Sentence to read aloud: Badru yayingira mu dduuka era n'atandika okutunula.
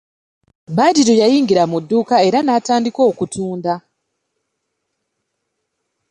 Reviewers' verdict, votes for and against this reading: rejected, 0, 3